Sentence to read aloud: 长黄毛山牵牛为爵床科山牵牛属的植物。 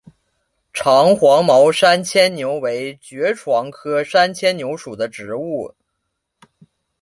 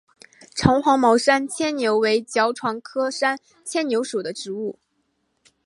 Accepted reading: first